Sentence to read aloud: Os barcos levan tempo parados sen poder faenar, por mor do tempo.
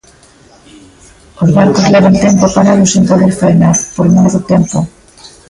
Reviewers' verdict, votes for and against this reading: accepted, 2, 1